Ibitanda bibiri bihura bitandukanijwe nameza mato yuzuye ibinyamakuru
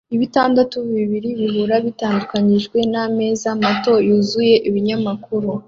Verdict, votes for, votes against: rejected, 0, 2